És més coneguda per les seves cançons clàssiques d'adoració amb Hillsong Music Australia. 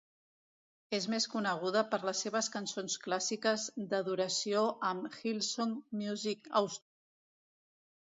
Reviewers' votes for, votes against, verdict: 0, 2, rejected